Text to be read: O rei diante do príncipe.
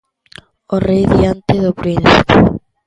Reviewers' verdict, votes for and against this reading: rejected, 0, 2